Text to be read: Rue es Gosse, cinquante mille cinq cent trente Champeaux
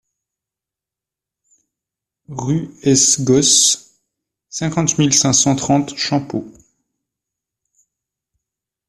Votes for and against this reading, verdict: 2, 1, accepted